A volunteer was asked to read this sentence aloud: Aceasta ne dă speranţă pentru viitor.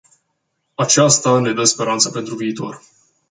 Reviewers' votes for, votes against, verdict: 2, 0, accepted